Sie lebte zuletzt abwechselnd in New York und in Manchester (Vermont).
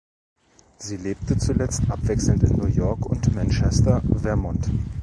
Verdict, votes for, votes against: rejected, 1, 2